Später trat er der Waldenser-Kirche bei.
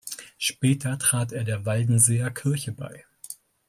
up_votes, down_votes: 0, 2